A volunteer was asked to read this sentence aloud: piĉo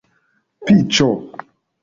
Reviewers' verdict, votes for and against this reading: rejected, 1, 2